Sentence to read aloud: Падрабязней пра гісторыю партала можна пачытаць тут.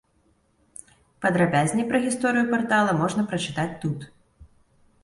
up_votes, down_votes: 0, 2